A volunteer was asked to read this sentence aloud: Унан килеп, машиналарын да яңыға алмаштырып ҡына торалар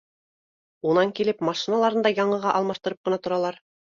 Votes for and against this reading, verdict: 2, 0, accepted